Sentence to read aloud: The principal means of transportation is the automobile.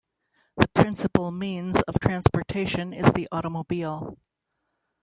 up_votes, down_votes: 1, 2